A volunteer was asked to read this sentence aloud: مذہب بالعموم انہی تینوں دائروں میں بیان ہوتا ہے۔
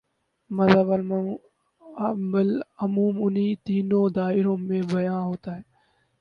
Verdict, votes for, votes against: rejected, 0, 2